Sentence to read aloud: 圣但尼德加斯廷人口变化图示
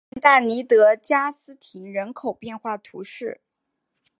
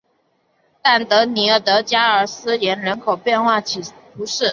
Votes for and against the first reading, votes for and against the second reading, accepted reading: 2, 1, 1, 2, first